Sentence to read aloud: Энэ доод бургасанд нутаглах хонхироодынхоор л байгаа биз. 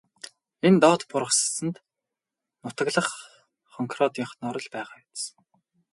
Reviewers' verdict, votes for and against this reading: rejected, 2, 2